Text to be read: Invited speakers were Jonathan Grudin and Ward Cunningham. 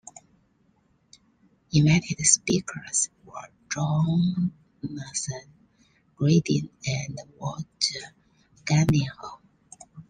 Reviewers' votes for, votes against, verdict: 1, 2, rejected